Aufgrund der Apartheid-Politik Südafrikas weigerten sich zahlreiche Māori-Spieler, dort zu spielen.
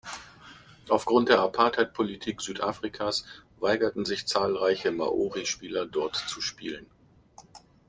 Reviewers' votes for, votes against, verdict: 2, 0, accepted